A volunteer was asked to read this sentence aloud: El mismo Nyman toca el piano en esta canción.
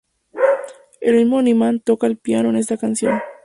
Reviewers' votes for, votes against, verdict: 0, 2, rejected